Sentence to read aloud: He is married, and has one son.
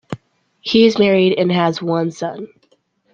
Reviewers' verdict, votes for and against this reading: accepted, 2, 0